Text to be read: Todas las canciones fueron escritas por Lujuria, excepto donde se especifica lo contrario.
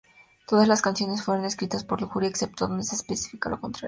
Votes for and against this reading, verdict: 2, 0, accepted